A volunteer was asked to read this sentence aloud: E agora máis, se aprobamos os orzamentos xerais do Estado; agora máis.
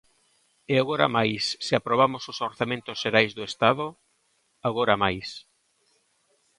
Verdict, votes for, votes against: accepted, 2, 0